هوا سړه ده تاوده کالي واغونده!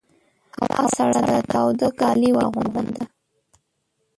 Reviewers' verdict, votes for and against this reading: rejected, 1, 2